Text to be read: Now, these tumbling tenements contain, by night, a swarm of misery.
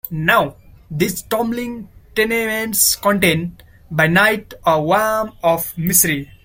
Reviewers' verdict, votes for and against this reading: rejected, 0, 2